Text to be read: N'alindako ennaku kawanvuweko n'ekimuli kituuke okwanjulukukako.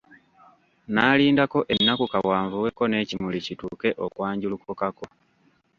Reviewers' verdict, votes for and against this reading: rejected, 1, 2